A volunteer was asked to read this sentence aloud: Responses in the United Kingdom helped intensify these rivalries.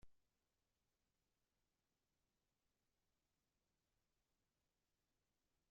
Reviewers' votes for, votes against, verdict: 0, 2, rejected